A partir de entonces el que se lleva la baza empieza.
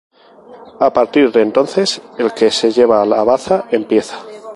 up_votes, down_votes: 2, 0